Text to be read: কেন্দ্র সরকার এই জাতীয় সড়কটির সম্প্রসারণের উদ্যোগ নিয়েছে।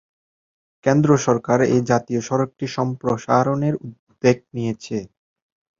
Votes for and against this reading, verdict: 1, 3, rejected